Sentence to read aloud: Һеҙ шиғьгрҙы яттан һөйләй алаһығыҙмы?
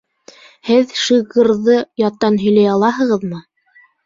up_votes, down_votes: 1, 2